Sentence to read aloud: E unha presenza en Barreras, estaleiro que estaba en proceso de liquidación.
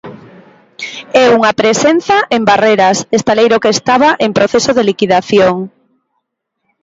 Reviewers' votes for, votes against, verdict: 2, 1, accepted